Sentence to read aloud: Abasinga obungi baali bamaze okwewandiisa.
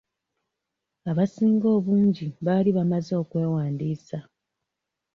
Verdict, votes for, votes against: accepted, 2, 1